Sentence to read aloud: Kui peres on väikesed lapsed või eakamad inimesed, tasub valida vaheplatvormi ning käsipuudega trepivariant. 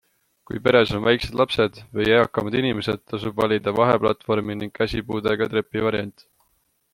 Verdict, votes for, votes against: accepted, 2, 0